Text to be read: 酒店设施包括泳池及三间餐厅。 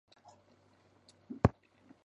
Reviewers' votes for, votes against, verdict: 0, 3, rejected